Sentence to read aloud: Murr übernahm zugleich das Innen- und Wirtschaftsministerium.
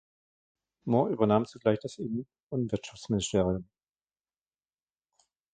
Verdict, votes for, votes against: rejected, 1, 2